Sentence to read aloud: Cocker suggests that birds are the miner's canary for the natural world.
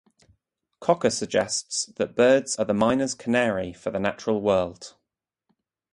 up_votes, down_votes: 2, 0